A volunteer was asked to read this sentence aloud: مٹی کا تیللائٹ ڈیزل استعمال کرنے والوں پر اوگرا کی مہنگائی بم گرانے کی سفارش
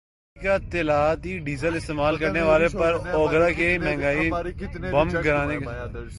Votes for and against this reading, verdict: 1, 3, rejected